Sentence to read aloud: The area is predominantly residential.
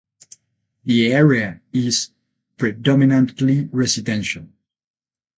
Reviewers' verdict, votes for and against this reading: accepted, 8, 0